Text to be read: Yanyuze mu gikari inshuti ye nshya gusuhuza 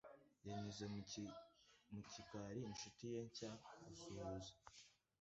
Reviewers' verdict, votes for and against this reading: rejected, 1, 2